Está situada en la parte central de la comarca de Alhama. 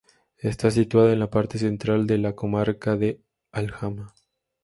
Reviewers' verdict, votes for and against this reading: accepted, 2, 0